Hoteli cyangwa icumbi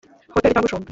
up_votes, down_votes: 1, 2